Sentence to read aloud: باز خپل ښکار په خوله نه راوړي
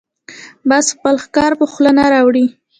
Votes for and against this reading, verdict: 2, 0, accepted